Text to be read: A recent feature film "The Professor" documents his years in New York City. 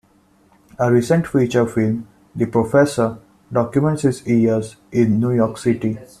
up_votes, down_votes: 0, 2